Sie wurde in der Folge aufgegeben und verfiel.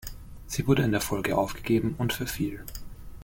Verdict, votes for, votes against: accepted, 2, 0